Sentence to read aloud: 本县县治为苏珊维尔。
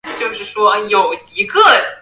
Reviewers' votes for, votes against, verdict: 0, 4, rejected